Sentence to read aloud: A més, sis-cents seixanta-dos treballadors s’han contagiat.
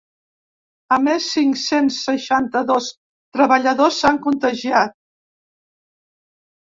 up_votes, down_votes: 1, 2